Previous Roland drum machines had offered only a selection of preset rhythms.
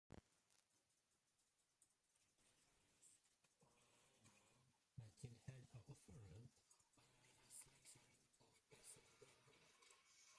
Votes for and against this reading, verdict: 0, 2, rejected